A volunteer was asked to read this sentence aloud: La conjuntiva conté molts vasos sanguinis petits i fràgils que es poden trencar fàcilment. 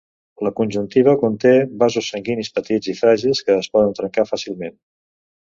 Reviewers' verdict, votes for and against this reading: rejected, 1, 2